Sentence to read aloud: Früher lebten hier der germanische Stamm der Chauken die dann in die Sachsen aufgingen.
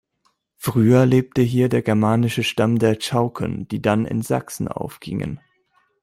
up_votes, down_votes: 1, 2